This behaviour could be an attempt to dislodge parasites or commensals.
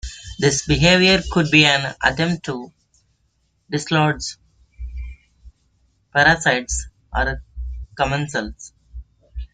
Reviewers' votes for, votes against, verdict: 2, 0, accepted